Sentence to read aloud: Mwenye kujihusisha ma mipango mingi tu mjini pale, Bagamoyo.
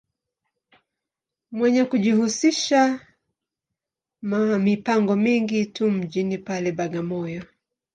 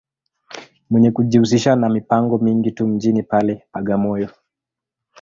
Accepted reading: second